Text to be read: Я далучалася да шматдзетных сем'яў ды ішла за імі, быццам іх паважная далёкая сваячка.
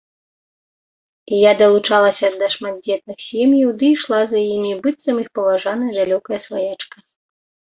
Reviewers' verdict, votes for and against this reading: rejected, 1, 2